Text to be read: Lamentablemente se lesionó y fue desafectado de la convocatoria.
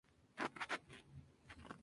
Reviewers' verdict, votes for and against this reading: rejected, 0, 2